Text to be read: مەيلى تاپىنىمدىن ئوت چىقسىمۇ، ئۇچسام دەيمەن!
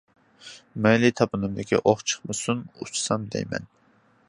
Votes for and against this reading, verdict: 0, 2, rejected